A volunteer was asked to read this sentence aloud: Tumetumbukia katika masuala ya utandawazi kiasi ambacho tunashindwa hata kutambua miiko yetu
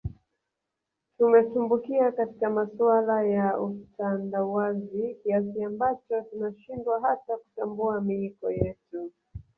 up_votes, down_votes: 1, 2